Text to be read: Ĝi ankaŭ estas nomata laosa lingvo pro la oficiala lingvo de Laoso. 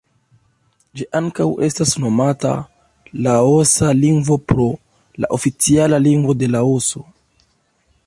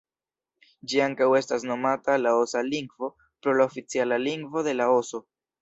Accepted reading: second